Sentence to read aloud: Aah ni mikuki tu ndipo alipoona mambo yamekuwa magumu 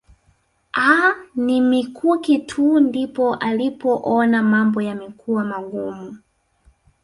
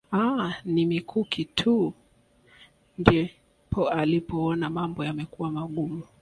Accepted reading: first